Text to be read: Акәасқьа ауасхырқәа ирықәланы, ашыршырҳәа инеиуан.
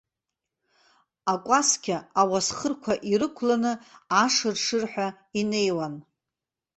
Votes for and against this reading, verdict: 2, 0, accepted